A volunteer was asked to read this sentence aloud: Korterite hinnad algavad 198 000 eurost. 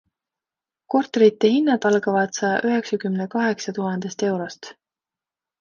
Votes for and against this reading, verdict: 0, 2, rejected